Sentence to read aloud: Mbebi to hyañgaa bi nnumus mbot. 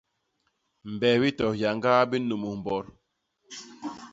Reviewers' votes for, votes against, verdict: 2, 0, accepted